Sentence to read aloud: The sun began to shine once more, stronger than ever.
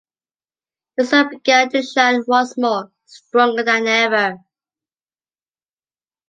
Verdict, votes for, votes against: accepted, 2, 0